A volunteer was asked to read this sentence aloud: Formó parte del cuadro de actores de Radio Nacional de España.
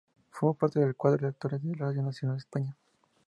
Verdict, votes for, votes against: accepted, 4, 0